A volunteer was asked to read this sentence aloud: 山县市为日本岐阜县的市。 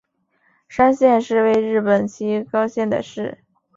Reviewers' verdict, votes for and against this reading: accepted, 3, 0